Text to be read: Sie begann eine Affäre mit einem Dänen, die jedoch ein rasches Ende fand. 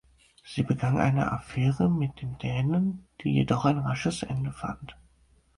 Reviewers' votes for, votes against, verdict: 0, 4, rejected